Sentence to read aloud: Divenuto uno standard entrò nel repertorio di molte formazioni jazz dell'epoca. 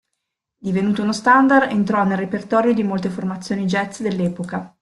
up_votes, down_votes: 2, 0